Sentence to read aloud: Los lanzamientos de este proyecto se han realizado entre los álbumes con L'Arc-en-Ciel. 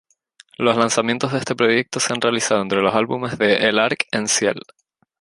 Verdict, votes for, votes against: accepted, 2, 0